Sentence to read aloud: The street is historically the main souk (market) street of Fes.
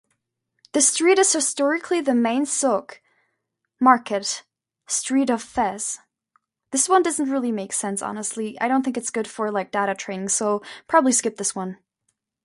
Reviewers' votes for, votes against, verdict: 0, 2, rejected